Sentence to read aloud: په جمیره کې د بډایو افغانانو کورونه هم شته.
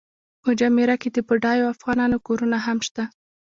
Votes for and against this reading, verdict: 1, 2, rejected